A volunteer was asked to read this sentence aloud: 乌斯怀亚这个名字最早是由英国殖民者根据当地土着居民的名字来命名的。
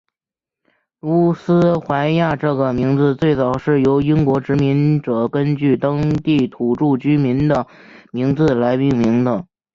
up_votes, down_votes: 4, 1